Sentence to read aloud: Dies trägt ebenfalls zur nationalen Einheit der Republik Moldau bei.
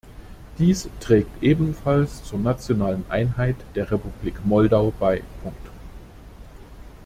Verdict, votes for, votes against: rejected, 1, 2